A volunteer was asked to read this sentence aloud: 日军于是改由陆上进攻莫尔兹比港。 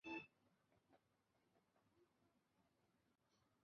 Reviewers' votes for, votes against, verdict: 0, 2, rejected